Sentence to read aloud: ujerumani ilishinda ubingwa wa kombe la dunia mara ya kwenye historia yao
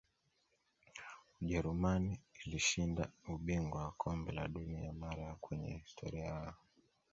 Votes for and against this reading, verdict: 0, 2, rejected